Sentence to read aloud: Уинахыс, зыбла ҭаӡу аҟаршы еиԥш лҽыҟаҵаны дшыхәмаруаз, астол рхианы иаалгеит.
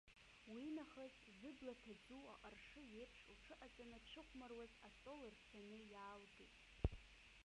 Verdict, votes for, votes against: rejected, 0, 2